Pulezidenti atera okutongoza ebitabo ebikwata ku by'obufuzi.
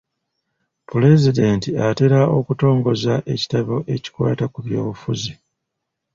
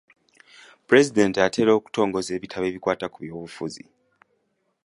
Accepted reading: second